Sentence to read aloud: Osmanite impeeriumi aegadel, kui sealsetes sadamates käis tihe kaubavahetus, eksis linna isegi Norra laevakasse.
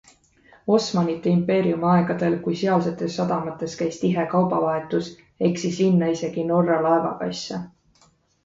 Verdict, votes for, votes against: accepted, 2, 0